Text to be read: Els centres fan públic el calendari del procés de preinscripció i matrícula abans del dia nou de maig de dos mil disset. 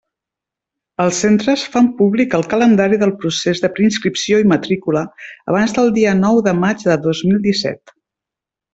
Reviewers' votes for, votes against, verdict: 3, 0, accepted